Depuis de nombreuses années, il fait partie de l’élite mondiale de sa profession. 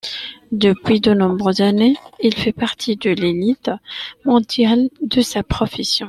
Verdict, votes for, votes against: accepted, 2, 0